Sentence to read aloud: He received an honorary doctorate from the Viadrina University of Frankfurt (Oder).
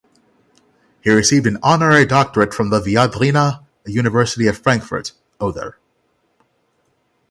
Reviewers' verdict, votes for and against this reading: accepted, 6, 0